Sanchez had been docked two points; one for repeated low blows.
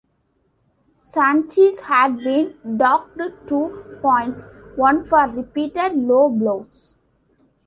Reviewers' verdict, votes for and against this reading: rejected, 1, 2